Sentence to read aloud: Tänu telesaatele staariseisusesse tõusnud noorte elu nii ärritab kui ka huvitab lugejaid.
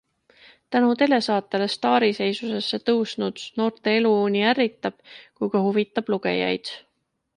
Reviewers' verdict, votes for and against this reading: accepted, 2, 0